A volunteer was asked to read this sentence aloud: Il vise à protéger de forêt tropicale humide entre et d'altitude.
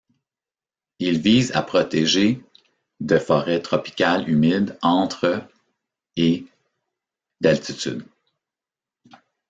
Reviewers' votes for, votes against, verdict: 2, 0, accepted